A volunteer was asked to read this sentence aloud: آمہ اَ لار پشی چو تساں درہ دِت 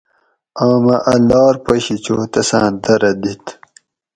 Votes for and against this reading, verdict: 4, 0, accepted